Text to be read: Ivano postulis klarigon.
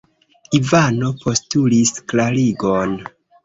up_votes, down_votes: 2, 1